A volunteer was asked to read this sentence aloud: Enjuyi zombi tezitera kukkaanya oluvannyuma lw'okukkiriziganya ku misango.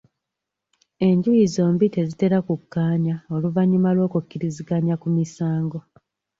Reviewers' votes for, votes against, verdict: 2, 0, accepted